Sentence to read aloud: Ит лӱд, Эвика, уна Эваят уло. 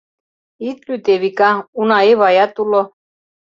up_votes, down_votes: 2, 0